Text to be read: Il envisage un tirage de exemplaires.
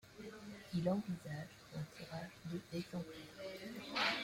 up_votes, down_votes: 0, 3